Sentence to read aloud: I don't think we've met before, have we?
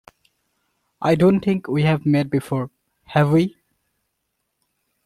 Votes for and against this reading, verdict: 0, 2, rejected